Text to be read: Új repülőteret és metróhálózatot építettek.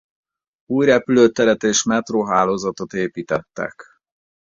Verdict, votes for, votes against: accepted, 2, 0